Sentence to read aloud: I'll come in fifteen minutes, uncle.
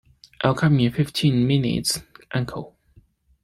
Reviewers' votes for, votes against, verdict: 2, 0, accepted